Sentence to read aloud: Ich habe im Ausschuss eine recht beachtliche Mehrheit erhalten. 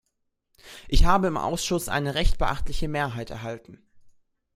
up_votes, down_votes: 2, 0